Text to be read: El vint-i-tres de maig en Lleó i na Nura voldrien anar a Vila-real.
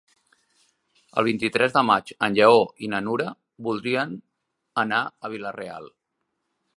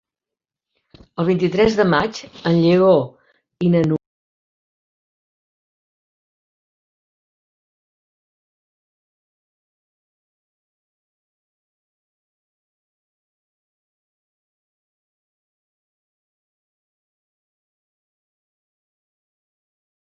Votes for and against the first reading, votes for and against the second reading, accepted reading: 3, 0, 0, 2, first